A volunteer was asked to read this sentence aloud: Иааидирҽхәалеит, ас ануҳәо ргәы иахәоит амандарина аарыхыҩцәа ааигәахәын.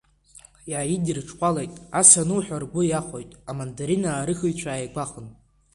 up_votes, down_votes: 3, 0